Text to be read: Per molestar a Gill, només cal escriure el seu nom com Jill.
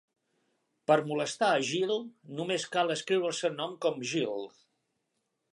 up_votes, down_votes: 2, 1